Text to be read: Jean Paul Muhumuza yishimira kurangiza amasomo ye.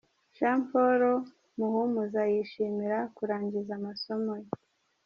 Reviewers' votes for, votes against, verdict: 1, 2, rejected